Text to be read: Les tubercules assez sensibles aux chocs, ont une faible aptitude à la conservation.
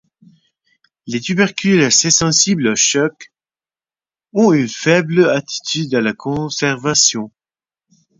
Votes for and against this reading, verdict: 2, 4, rejected